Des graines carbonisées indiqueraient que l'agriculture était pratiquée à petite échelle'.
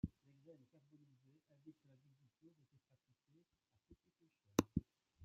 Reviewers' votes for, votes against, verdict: 0, 2, rejected